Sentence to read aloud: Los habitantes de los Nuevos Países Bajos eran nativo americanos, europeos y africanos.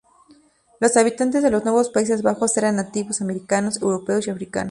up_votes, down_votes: 0, 2